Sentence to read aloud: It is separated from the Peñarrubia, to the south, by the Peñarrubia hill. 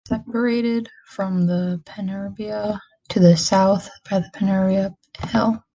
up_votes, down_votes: 1, 2